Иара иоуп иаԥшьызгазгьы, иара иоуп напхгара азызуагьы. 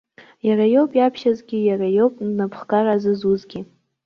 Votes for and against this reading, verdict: 0, 2, rejected